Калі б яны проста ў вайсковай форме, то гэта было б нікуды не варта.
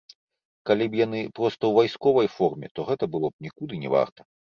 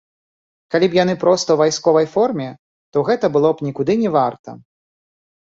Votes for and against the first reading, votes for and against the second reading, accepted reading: 2, 0, 0, 2, first